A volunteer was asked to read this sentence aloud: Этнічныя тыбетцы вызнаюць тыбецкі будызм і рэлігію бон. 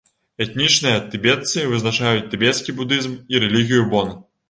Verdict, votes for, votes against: accepted, 2, 0